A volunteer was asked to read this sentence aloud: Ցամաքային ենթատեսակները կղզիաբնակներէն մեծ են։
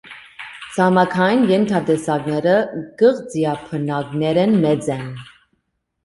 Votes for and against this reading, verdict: 2, 1, accepted